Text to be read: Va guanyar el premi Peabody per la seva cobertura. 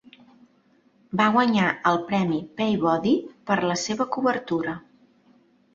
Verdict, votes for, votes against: rejected, 0, 2